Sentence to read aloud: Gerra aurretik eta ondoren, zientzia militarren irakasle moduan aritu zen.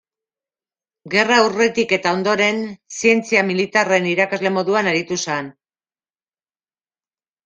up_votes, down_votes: 0, 2